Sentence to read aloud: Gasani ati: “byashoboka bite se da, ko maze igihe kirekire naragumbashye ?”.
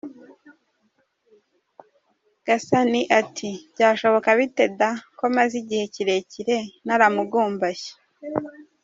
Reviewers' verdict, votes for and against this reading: accepted, 2, 0